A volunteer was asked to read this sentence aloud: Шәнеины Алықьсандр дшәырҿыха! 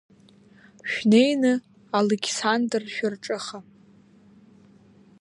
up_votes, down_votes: 1, 2